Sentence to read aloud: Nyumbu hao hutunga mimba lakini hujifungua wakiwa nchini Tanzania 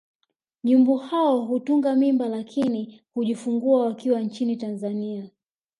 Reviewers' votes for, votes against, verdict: 3, 1, accepted